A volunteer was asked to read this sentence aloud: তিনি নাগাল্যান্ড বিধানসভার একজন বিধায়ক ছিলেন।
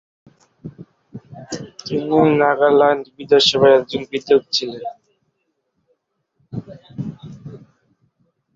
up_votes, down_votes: 0, 2